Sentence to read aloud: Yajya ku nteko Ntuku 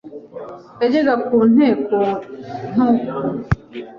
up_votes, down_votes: 1, 2